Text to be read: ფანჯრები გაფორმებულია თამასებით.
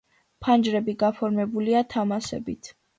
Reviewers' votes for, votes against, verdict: 2, 1, accepted